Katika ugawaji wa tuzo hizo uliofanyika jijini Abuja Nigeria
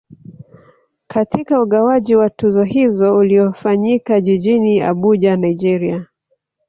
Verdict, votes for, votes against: rejected, 1, 2